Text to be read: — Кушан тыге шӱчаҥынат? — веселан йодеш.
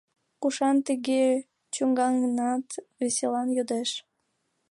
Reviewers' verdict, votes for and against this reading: rejected, 1, 2